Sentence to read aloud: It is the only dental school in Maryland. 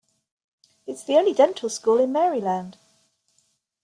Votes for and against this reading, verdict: 1, 2, rejected